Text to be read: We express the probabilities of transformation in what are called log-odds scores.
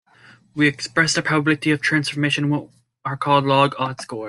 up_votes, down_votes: 0, 2